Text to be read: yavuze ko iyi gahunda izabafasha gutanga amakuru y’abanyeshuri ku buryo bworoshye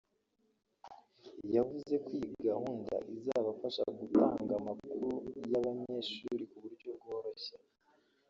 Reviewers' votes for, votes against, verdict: 2, 3, rejected